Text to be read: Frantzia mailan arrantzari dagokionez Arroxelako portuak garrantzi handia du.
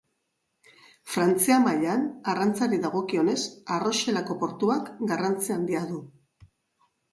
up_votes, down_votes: 3, 0